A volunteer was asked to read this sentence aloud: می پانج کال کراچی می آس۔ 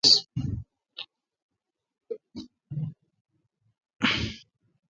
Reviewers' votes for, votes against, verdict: 0, 2, rejected